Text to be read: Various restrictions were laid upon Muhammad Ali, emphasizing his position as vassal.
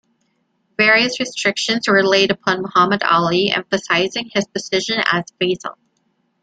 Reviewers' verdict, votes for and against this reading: rejected, 1, 2